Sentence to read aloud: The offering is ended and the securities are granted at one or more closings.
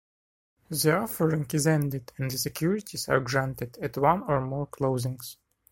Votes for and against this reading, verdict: 1, 2, rejected